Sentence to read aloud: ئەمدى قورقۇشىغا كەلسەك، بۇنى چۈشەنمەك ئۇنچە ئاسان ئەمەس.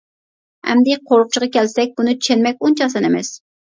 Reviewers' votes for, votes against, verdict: 0, 2, rejected